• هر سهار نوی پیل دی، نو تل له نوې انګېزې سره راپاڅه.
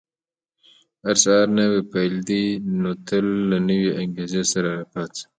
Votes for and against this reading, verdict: 2, 1, accepted